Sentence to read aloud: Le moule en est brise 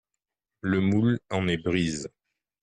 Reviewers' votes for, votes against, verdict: 1, 2, rejected